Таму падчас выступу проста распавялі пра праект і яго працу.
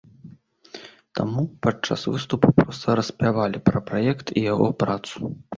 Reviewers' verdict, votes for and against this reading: rejected, 0, 2